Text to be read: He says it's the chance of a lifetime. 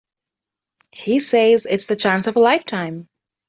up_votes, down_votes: 3, 0